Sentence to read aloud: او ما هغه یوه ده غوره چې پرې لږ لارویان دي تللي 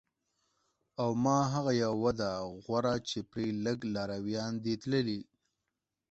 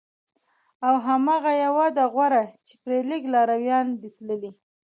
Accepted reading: first